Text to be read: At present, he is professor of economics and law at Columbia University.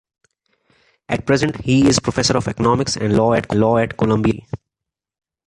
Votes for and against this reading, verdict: 0, 2, rejected